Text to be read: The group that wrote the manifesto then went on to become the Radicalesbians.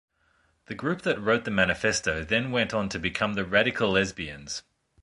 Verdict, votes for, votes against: accepted, 2, 0